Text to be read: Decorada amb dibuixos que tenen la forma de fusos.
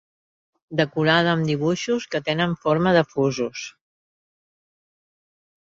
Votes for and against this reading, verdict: 1, 2, rejected